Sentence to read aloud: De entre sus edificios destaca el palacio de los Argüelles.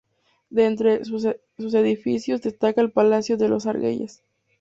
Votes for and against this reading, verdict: 0, 2, rejected